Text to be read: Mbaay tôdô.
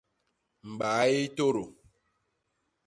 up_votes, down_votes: 0, 2